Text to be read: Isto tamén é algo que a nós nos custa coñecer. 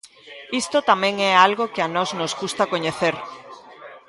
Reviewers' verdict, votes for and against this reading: accepted, 2, 0